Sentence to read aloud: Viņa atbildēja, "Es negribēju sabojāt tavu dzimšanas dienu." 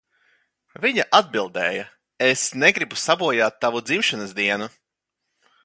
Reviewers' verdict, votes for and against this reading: rejected, 0, 2